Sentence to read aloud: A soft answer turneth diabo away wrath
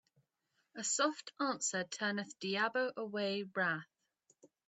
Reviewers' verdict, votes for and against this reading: accepted, 2, 0